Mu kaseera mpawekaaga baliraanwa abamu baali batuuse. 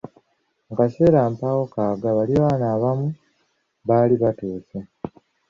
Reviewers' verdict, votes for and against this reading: rejected, 2, 3